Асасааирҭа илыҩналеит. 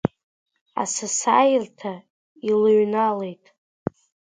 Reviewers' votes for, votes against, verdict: 0, 2, rejected